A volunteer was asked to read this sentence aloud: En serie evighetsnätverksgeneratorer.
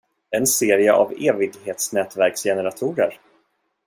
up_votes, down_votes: 1, 2